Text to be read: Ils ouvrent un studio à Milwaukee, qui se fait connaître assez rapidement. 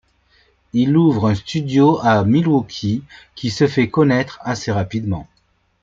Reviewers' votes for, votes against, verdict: 0, 2, rejected